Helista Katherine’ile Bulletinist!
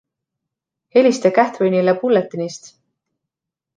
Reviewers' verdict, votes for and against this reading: accepted, 2, 0